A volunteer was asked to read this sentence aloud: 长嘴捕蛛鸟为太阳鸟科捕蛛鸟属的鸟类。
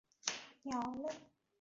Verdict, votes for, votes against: rejected, 0, 4